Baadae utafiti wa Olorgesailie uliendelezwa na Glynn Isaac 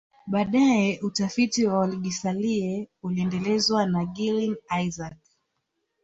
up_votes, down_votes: 3, 2